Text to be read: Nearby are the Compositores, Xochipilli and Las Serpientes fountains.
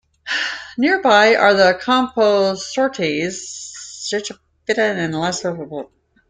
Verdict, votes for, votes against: rejected, 0, 2